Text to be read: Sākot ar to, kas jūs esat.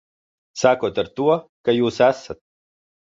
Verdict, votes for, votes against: rejected, 0, 2